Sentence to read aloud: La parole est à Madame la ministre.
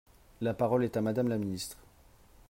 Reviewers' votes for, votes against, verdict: 2, 0, accepted